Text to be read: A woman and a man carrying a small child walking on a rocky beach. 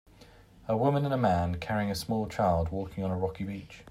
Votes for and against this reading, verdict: 2, 0, accepted